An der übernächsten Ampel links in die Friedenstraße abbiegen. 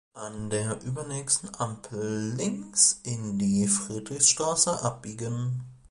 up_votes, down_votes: 0, 2